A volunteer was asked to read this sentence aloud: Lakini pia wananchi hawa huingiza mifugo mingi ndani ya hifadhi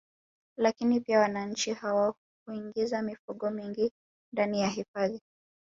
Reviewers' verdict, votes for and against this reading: rejected, 1, 2